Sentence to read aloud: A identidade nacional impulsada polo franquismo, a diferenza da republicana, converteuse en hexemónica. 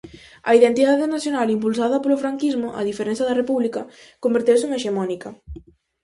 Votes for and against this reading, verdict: 0, 4, rejected